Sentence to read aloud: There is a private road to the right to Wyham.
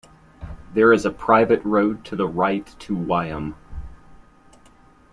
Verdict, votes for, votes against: accepted, 2, 0